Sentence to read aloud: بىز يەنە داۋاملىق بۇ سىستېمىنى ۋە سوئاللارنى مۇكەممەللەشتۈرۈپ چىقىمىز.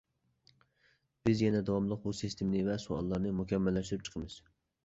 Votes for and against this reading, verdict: 2, 0, accepted